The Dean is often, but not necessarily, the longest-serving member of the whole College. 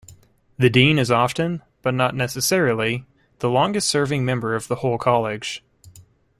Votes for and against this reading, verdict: 1, 2, rejected